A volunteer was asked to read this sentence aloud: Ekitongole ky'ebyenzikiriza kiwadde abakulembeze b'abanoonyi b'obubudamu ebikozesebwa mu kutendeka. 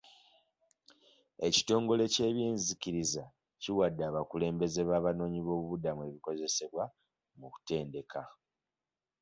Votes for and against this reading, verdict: 2, 0, accepted